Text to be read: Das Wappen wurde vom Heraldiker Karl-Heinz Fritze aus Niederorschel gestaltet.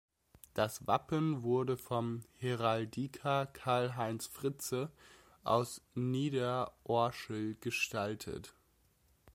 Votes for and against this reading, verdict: 1, 2, rejected